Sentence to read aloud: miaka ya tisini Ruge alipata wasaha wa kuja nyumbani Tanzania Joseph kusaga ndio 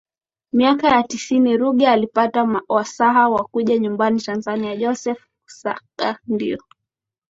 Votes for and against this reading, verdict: 2, 0, accepted